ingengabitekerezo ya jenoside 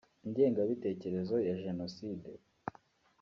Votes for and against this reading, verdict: 2, 0, accepted